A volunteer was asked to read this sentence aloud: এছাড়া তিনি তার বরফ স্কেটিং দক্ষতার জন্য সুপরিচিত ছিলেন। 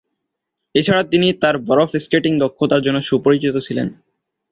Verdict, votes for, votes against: rejected, 2, 2